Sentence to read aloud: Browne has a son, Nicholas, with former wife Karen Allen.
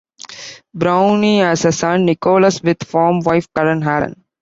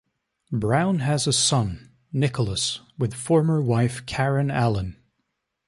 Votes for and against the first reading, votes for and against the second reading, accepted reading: 0, 2, 2, 0, second